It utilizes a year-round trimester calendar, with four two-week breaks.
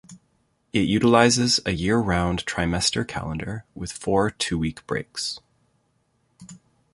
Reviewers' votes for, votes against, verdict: 2, 0, accepted